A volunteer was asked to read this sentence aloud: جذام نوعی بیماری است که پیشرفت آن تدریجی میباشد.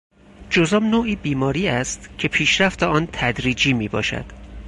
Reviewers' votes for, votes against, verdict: 4, 0, accepted